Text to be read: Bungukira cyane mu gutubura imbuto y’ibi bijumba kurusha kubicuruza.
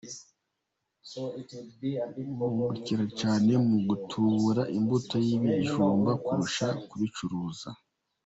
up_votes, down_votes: 0, 2